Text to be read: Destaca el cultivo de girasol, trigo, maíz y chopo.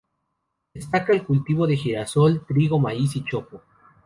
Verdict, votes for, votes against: accepted, 2, 0